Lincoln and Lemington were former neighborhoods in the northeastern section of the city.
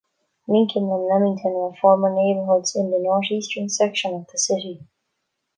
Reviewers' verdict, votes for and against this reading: accepted, 2, 0